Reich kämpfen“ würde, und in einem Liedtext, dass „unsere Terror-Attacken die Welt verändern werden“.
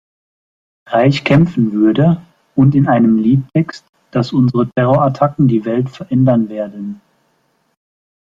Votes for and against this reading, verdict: 2, 1, accepted